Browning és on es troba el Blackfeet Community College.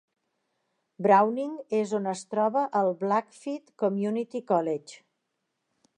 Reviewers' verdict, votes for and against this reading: accepted, 2, 0